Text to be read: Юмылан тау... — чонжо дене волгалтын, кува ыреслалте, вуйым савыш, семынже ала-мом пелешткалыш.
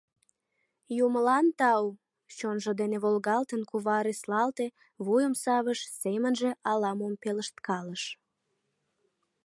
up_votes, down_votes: 2, 0